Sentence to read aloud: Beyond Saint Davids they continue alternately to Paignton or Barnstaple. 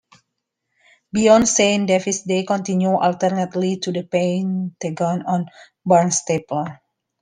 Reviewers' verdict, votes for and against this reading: rejected, 0, 2